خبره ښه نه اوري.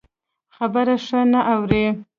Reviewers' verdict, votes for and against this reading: rejected, 1, 2